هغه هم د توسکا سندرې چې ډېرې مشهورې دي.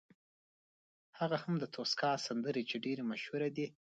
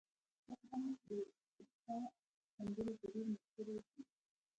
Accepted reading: first